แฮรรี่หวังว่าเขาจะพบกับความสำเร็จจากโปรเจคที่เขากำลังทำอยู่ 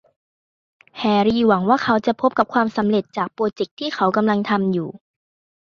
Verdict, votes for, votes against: accepted, 3, 0